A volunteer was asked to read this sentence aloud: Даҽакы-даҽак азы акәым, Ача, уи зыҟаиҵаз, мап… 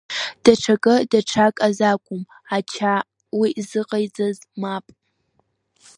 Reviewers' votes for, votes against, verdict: 0, 2, rejected